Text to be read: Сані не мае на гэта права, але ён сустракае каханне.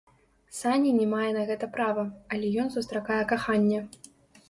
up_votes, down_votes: 1, 2